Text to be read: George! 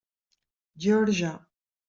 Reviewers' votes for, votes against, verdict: 1, 2, rejected